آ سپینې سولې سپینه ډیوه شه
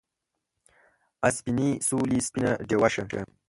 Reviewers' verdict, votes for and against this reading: rejected, 1, 2